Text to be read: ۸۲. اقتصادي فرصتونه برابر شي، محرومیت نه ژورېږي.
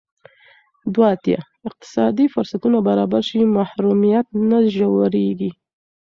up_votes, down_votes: 0, 2